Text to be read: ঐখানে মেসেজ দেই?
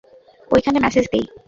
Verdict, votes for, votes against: accepted, 2, 0